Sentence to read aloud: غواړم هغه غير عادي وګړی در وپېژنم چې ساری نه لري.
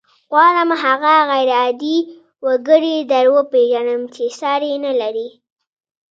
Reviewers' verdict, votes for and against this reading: accepted, 2, 0